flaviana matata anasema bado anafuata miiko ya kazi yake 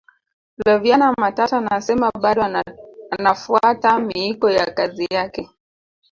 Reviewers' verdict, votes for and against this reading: rejected, 1, 2